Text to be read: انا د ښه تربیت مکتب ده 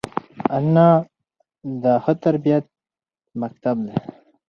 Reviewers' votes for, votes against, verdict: 4, 0, accepted